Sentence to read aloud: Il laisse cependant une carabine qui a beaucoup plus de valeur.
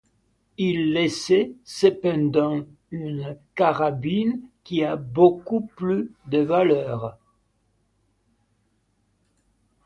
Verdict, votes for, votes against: rejected, 1, 2